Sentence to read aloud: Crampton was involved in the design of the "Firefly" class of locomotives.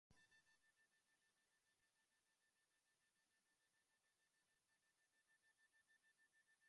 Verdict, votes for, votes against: rejected, 0, 2